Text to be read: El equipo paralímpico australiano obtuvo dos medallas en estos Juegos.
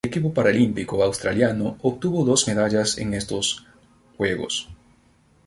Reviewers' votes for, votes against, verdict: 0, 2, rejected